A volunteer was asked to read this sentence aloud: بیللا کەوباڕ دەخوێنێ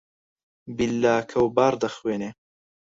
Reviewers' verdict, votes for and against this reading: rejected, 2, 4